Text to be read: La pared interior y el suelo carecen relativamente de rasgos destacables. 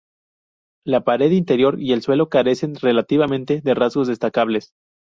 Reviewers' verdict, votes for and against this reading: rejected, 0, 2